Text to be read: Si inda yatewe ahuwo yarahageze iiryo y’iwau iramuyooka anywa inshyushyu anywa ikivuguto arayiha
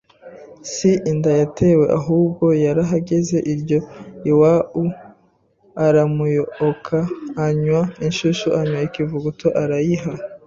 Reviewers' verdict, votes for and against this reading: rejected, 0, 2